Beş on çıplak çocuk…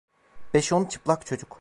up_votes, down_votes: 2, 0